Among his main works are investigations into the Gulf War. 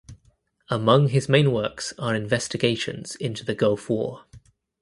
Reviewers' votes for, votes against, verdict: 2, 1, accepted